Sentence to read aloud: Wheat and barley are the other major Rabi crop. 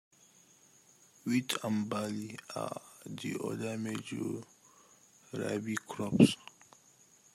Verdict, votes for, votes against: rejected, 0, 2